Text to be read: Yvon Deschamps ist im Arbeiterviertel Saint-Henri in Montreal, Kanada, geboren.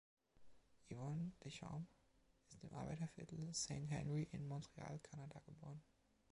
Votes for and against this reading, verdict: 1, 2, rejected